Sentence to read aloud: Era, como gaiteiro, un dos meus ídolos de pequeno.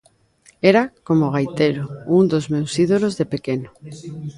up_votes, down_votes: 1, 2